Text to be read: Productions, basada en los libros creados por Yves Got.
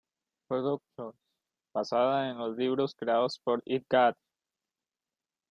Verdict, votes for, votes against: rejected, 0, 2